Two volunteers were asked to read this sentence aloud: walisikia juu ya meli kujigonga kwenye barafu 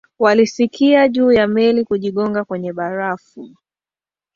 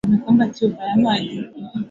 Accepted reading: first